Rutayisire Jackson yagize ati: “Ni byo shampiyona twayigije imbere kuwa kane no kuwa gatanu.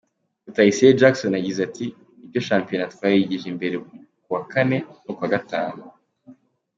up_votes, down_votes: 2, 0